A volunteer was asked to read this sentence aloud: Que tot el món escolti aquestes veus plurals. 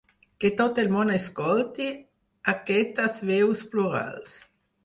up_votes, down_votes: 4, 2